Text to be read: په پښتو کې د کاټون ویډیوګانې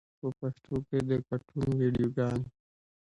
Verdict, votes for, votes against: rejected, 1, 2